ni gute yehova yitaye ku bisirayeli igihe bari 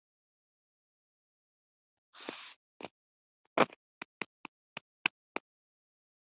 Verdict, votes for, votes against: rejected, 0, 2